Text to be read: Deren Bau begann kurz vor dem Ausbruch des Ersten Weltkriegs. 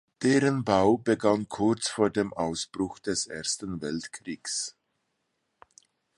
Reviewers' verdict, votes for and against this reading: accepted, 2, 0